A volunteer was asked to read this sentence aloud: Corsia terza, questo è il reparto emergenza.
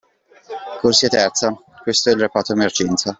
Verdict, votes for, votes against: accepted, 2, 0